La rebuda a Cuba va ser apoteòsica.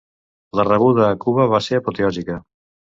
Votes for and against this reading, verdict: 2, 0, accepted